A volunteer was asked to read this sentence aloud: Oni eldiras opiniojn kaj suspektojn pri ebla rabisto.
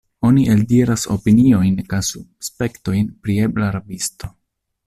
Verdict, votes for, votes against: rejected, 0, 2